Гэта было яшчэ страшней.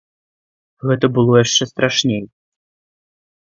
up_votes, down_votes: 2, 0